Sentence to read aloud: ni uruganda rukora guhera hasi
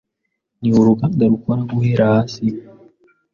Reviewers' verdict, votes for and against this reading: accepted, 2, 0